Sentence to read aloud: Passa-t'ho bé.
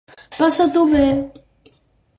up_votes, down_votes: 6, 0